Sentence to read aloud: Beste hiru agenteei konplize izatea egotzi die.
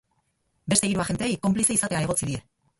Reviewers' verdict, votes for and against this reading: rejected, 2, 2